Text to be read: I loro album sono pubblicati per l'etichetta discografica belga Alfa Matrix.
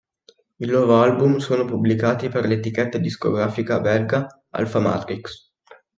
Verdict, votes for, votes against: accepted, 2, 0